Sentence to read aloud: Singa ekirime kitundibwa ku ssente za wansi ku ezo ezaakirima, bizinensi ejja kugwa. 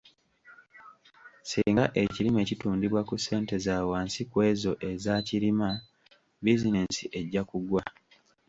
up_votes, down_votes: 1, 2